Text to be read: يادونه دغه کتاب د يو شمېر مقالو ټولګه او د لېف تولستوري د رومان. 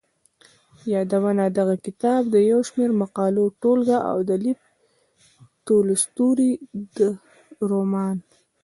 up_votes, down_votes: 2, 1